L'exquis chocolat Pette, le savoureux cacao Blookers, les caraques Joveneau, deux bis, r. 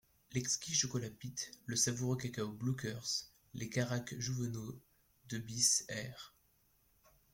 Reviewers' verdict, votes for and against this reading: rejected, 1, 2